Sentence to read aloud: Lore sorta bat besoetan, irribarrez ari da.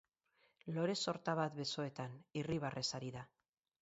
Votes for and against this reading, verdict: 0, 2, rejected